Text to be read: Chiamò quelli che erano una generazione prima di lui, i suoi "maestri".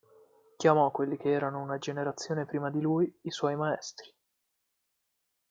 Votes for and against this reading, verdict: 1, 2, rejected